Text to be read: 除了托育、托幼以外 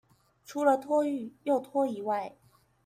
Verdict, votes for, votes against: rejected, 0, 2